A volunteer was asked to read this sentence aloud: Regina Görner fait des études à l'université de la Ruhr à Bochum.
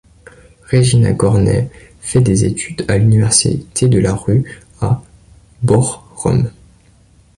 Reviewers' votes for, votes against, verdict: 0, 3, rejected